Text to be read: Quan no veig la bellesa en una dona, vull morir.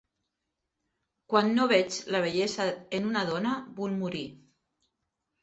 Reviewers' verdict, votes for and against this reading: accepted, 3, 0